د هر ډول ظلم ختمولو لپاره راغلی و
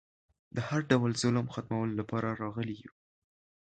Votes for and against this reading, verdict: 0, 2, rejected